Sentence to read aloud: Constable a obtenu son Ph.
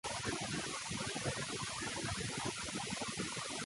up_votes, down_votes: 0, 2